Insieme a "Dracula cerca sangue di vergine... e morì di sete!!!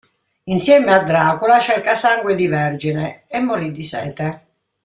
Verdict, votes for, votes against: accepted, 2, 0